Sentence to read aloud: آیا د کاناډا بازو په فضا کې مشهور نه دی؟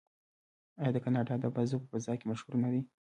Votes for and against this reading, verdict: 2, 0, accepted